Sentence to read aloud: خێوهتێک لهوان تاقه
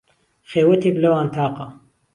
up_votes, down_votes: 2, 0